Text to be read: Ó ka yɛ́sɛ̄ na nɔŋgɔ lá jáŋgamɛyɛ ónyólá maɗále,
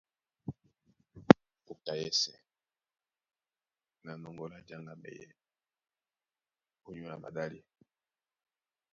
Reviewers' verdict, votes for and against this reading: rejected, 1, 2